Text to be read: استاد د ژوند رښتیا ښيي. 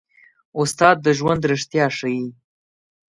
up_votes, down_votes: 2, 0